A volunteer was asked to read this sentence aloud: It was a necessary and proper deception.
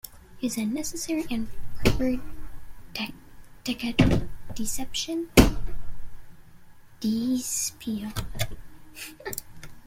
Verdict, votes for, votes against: rejected, 0, 2